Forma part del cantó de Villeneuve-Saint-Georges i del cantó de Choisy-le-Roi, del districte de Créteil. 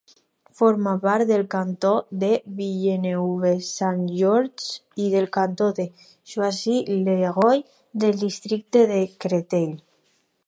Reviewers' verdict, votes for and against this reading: rejected, 4, 4